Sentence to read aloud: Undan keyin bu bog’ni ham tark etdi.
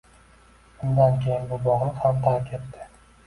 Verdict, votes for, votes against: rejected, 0, 2